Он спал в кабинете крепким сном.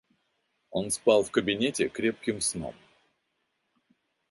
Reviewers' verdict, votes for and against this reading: accepted, 2, 0